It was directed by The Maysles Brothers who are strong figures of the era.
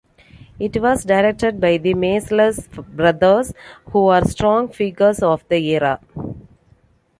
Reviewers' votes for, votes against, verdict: 2, 0, accepted